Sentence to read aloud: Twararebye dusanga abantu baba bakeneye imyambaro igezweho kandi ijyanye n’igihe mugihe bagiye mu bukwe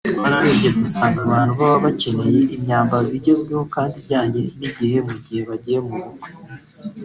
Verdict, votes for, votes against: rejected, 1, 2